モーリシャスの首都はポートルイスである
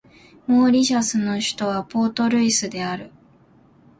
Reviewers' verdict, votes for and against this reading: accepted, 2, 0